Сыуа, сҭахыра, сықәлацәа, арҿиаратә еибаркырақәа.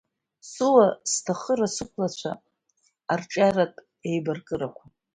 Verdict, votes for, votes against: accepted, 2, 0